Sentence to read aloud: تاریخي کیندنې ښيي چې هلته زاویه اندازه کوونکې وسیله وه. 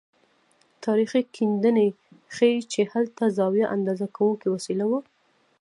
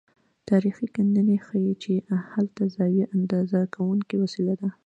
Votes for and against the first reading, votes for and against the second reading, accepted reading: 1, 2, 2, 0, second